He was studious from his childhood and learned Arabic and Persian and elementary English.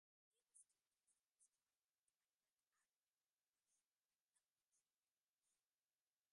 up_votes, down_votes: 0, 2